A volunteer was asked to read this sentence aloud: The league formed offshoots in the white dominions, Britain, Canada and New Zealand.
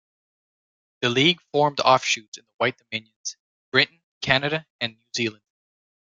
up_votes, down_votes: 1, 2